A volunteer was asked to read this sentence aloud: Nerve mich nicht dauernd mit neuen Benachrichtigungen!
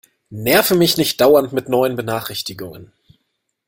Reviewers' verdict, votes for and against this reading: accepted, 2, 0